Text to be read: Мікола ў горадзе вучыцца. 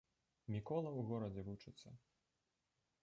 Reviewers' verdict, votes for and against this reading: rejected, 1, 2